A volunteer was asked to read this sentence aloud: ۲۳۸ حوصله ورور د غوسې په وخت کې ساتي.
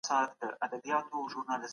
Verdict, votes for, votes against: rejected, 0, 2